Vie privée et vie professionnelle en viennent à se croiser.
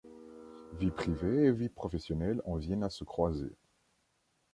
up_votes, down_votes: 2, 0